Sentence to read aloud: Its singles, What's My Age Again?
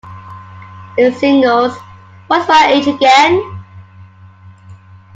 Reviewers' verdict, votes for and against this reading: accepted, 2, 1